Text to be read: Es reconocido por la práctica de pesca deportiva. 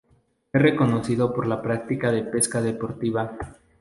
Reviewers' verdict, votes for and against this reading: rejected, 0, 2